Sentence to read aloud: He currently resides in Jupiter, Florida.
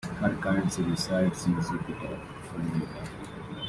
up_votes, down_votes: 2, 1